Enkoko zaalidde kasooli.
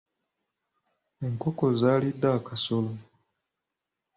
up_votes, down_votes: 0, 2